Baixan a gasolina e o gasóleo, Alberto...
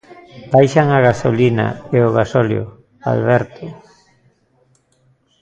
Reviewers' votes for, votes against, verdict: 1, 2, rejected